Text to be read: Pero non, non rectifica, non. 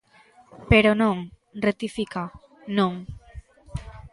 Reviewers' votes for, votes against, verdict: 0, 2, rejected